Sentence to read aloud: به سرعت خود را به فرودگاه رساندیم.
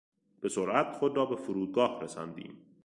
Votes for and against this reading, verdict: 2, 0, accepted